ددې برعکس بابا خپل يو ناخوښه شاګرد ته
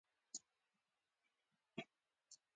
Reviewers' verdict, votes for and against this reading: rejected, 1, 2